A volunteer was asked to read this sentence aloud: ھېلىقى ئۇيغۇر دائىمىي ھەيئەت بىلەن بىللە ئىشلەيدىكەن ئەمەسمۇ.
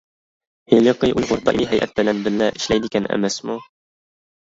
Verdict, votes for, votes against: rejected, 0, 2